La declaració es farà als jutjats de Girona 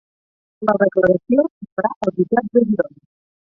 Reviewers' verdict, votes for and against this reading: rejected, 0, 4